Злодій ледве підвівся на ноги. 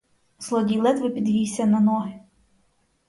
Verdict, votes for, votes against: accepted, 4, 0